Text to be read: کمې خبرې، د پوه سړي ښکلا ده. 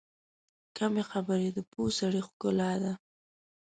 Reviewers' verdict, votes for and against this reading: accepted, 2, 1